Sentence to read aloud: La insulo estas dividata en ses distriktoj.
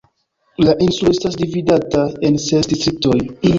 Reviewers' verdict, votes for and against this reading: rejected, 1, 2